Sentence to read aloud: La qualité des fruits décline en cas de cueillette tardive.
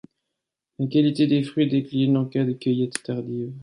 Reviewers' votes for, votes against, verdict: 1, 2, rejected